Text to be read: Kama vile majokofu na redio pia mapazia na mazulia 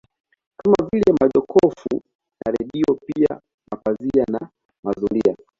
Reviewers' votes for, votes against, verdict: 2, 0, accepted